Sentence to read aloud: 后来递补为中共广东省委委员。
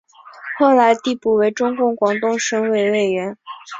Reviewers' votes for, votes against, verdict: 4, 0, accepted